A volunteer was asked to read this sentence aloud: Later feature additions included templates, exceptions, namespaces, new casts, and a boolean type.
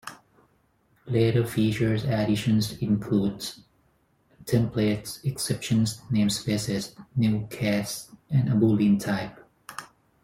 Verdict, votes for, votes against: rejected, 0, 4